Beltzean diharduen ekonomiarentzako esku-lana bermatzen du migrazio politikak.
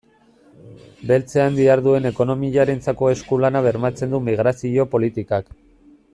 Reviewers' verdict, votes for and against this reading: accepted, 2, 0